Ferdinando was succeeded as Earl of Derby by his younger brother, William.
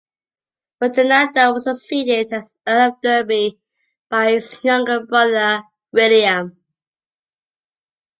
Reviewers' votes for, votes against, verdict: 0, 2, rejected